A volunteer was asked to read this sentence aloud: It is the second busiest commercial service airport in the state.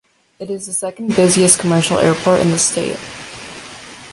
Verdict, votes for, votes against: rejected, 0, 2